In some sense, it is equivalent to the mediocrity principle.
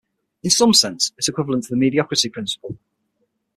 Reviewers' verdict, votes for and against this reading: accepted, 6, 3